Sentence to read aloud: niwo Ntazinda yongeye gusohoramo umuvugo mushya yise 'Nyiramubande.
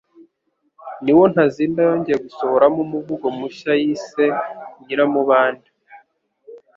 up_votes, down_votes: 2, 0